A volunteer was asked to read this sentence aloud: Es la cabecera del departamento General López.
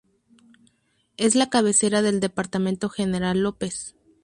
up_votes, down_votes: 2, 0